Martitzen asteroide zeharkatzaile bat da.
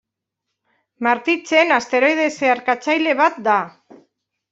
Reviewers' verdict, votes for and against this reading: accepted, 2, 1